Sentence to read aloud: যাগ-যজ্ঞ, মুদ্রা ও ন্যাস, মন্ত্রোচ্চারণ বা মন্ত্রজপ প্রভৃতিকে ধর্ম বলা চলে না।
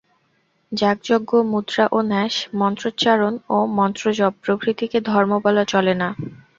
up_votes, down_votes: 2, 0